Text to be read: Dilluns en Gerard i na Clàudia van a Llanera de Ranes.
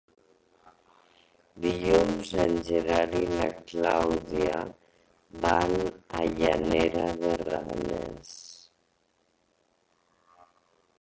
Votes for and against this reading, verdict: 0, 2, rejected